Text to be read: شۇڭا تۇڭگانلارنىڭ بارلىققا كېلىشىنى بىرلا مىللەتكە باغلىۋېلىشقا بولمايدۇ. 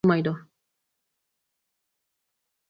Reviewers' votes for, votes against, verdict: 0, 4, rejected